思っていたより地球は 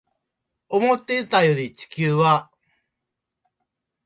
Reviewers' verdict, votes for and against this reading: accepted, 2, 1